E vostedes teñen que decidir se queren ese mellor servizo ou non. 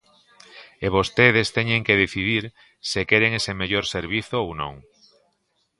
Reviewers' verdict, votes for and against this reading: accepted, 2, 0